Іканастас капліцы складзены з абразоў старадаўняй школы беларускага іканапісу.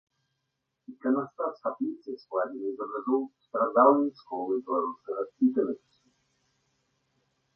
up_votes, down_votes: 1, 2